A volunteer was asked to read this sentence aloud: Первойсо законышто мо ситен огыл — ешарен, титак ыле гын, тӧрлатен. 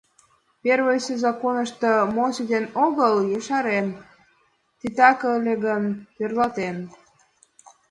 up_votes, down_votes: 2, 0